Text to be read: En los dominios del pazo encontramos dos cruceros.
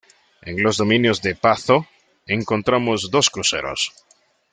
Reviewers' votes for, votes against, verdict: 1, 2, rejected